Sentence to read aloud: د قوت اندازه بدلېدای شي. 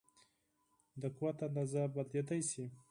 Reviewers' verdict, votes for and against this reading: accepted, 4, 0